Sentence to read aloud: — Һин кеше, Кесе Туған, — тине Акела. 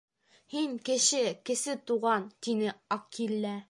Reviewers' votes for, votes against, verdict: 0, 2, rejected